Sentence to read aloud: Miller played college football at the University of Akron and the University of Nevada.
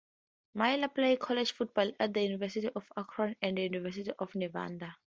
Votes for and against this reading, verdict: 2, 4, rejected